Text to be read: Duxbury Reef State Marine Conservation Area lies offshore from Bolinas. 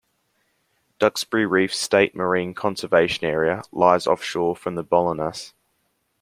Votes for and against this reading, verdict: 2, 1, accepted